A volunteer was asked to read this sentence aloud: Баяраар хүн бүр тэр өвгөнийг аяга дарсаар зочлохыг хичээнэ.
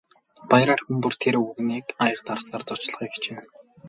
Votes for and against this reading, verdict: 0, 2, rejected